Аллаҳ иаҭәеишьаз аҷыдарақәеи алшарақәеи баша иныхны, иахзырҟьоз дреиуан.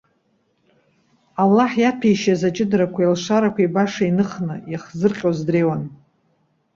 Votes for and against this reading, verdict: 2, 0, accepted